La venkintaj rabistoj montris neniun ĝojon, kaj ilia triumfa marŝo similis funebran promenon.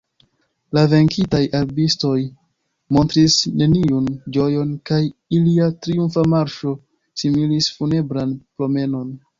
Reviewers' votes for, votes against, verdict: 2, 1, accepted